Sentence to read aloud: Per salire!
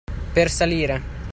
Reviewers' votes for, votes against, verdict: 2, 0, accepted